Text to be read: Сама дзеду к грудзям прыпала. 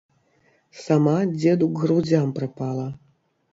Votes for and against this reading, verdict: 2, 0, accepted